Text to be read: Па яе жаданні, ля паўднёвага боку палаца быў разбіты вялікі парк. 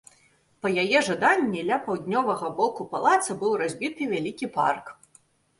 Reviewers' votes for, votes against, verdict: 2, 0, accepted